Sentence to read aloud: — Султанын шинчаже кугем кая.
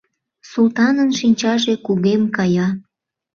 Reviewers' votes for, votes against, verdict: 2, 0, accepted